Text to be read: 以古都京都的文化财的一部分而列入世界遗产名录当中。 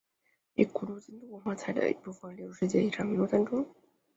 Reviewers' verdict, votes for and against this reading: rejected, 0, 5